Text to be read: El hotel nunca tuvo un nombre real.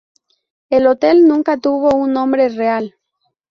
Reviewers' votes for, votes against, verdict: 4, 0, accepted